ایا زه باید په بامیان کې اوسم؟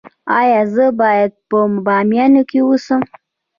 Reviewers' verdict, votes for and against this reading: accepted, 2, 0